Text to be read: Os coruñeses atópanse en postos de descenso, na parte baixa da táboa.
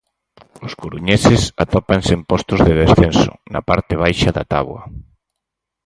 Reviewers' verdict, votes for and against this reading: accepted, 4, 0